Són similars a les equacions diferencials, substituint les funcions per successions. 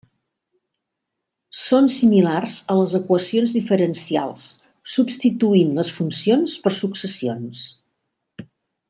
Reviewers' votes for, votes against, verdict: 3, 0, accepted